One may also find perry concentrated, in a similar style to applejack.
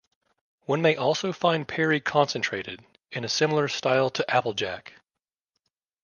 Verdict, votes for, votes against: accepted, 2, 0